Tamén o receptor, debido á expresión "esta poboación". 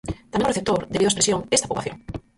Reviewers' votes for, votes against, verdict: 0, 4, rejected